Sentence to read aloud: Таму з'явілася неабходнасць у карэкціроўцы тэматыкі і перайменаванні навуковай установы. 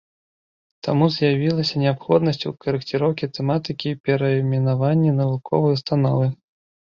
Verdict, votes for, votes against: rejected, 1, 2